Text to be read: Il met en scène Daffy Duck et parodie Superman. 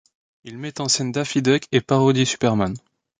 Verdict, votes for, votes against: accepted, 2, 0